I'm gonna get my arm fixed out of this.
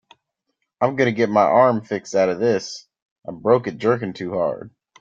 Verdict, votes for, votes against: rejected, 0, 4